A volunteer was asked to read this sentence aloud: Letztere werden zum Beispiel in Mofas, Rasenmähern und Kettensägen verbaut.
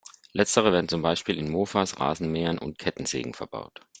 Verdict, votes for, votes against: accepted, 2, 0